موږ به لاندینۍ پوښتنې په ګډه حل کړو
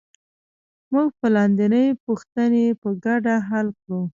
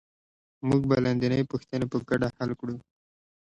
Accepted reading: second